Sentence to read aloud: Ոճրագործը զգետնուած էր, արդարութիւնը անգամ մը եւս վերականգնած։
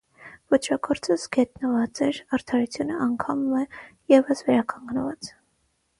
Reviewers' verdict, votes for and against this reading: rejected, 3, 3